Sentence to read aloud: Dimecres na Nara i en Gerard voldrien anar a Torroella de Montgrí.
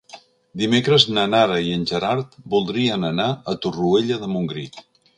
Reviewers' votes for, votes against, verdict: 2, 0, accepted